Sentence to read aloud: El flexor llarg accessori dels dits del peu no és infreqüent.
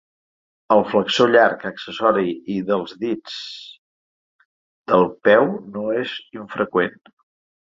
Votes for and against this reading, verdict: 1, 2, rejected